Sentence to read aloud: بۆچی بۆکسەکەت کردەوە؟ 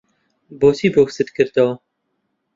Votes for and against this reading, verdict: 0, 2, rejected